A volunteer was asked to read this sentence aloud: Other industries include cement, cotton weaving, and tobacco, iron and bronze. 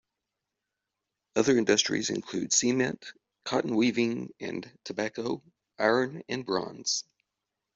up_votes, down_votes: 2, 0